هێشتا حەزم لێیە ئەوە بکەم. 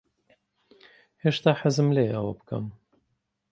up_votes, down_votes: 2, 1